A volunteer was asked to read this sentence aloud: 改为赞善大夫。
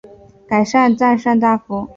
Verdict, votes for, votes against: rejected, 0, 2